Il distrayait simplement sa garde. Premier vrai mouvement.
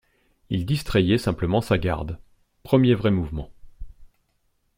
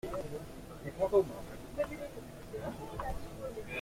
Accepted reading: first